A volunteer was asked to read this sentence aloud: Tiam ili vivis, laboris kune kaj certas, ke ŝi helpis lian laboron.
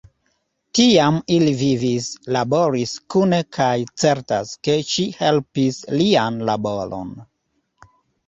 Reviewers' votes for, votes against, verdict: 0, 2, rejected